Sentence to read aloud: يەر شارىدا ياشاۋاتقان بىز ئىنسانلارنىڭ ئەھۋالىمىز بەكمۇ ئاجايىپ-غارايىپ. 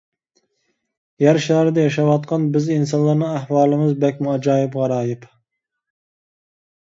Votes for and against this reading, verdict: 2, 0, accepted